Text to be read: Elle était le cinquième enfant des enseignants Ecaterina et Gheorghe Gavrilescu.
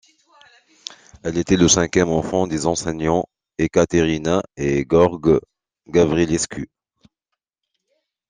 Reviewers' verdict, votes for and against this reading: accepted, 2, 0